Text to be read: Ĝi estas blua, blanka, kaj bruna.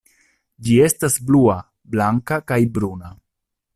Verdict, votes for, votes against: accepted, 2, 0